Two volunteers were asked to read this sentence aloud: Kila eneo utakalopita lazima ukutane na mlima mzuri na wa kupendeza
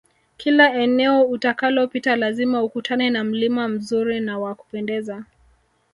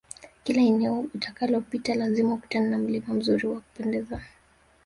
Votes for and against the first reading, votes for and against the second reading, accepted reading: 1, 2, 2, 0, second